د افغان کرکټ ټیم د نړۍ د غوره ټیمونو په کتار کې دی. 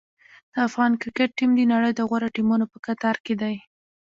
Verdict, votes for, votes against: accepted, 2, 0